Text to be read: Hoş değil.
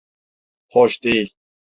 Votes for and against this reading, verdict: 2, 0, accepted